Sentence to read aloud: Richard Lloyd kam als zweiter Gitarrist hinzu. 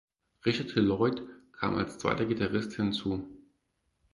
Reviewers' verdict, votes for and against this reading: rejected, 2, 4